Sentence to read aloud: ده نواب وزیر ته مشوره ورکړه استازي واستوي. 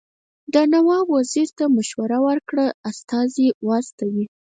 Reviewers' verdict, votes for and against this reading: rejected, 0, 4